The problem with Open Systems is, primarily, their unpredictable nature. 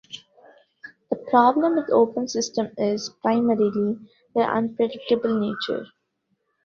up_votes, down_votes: 2, 0